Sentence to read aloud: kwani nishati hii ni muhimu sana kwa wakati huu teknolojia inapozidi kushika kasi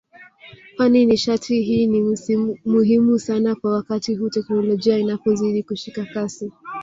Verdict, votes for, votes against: rejected, 1, 2